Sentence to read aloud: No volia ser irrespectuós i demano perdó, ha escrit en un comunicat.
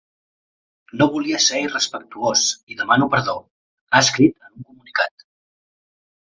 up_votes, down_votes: 0, 4